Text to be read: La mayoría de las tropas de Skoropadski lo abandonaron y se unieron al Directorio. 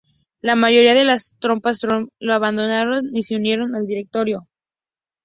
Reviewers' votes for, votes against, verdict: 0, 2, rejected